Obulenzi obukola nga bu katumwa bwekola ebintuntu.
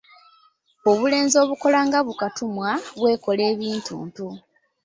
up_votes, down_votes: 2, 0